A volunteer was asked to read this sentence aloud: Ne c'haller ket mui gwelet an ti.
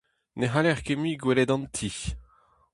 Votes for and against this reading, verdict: 2, 0, accepted